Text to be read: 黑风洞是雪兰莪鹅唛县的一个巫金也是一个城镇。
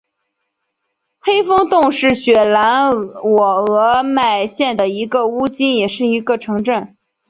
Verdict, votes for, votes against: rejected, 0, 2